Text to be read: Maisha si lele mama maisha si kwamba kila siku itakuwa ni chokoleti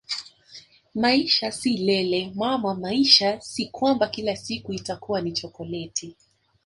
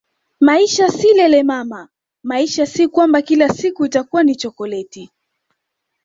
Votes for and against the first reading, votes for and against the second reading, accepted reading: 1, 2, 2, 0, second